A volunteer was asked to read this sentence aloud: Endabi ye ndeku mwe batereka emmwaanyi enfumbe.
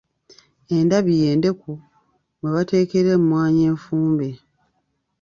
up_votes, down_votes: 1, 2